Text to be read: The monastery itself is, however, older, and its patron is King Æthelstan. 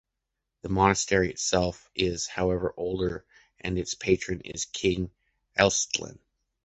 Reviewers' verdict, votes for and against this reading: rejected, 1, 2